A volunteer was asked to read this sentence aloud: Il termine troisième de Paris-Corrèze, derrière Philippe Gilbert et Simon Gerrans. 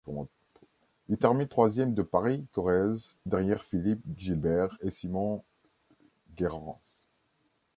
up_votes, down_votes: 1, 2